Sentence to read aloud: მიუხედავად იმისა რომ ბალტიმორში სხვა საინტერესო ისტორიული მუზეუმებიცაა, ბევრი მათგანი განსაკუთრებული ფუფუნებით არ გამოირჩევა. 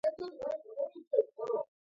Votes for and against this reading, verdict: 1, 2, rejected